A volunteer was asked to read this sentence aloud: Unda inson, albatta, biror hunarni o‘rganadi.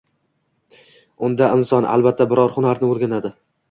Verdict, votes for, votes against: accepted, 2, 0